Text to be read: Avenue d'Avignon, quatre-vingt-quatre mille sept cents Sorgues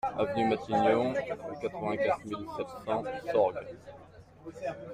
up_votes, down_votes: 0, 2